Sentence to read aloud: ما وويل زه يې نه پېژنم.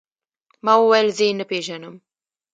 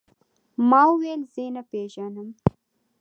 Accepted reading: second